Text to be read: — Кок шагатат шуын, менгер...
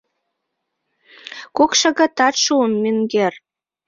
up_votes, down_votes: 2, 0